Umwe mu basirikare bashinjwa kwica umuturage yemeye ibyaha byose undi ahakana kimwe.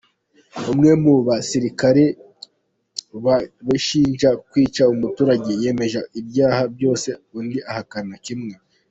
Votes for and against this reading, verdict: 0, 2, rejected